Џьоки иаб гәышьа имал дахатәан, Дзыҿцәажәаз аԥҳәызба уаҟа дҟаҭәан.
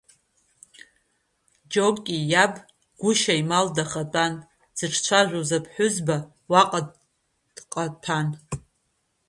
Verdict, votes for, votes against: rejected, 0, 2